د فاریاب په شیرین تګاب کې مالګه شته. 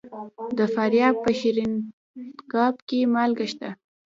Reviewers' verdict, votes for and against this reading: rejected, 0, 2